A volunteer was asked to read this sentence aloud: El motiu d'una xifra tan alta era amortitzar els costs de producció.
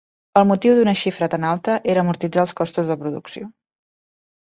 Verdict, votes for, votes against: accepted, 2, 1